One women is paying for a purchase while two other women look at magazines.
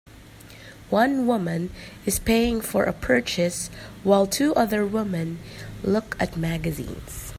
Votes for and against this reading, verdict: 2, 0, accepted